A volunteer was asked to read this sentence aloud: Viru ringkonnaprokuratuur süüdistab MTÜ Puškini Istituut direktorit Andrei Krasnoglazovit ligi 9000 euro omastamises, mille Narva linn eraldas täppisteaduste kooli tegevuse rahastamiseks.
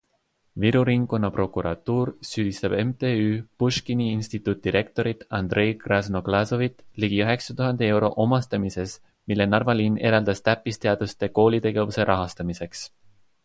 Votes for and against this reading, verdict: 0, 2, rejected